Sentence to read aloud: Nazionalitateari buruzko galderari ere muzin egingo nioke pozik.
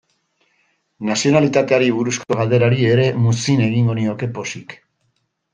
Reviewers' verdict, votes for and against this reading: accepted, 2, 0